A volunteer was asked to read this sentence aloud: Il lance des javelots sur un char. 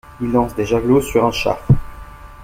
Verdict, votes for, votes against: accepted, 2, 0